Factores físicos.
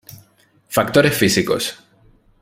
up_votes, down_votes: 2, 0